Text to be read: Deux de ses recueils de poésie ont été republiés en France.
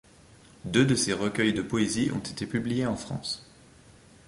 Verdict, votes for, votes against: rejected, 1, 2